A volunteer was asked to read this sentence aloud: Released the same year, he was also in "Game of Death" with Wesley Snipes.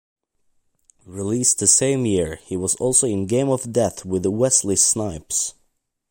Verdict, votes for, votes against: accepted, 2, 0